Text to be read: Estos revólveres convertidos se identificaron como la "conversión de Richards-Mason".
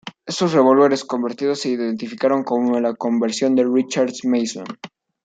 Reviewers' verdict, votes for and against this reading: rejected, 0, 2